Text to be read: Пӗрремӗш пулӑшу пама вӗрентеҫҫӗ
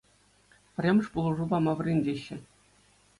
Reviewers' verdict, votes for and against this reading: accepted, 2, 0